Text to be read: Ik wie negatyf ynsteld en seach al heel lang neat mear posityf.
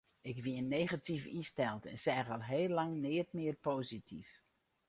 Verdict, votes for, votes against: rejected, 2, 2